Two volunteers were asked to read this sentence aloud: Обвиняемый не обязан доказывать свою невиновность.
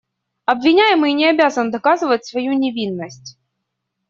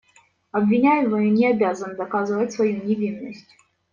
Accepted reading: first